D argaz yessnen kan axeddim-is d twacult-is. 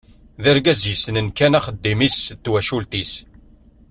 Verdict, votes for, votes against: accepted, 2, 0